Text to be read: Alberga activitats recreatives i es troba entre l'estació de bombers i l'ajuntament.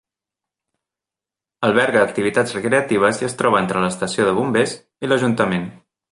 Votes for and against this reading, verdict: 2, 0, accepted